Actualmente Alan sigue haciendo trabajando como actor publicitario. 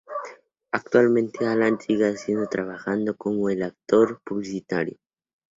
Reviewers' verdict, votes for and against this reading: rejected, 0, 2